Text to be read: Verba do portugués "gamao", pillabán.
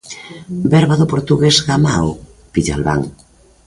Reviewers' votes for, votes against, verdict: 0, 2, rejected